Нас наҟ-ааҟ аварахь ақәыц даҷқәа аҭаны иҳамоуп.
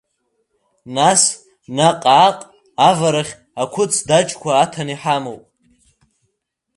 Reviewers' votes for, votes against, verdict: 1, 2, rejected